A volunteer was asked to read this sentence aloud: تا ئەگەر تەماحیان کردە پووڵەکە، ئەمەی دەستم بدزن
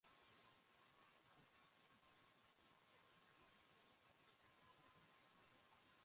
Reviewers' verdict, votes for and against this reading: rejected, 0, 2